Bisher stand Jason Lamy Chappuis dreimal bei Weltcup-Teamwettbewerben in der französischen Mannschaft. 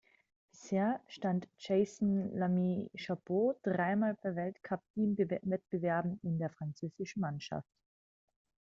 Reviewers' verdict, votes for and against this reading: accepted, 2, 1